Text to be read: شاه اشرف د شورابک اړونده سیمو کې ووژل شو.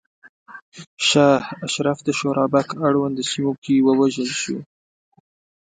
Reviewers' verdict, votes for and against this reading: accepted, 2, 0